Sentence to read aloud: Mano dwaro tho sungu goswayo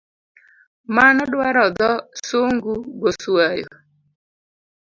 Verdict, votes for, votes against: accepted, 3, 0